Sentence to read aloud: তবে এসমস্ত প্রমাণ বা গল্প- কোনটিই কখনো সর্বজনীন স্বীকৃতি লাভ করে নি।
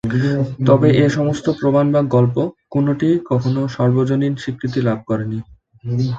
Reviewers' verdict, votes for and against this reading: accepted, 2, 0